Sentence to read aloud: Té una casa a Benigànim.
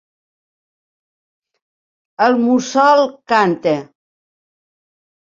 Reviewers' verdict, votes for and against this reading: rejected, 0, 3